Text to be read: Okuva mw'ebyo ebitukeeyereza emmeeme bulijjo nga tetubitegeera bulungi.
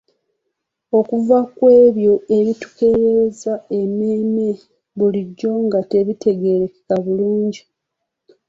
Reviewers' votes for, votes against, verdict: 2, 0, accepted